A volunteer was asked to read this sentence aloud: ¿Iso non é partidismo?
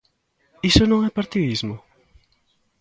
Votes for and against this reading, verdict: 2, 0, accepted